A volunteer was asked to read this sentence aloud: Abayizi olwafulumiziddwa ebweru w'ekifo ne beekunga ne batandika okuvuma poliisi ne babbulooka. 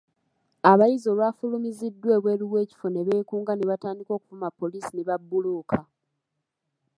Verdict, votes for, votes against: accepted, 2, 1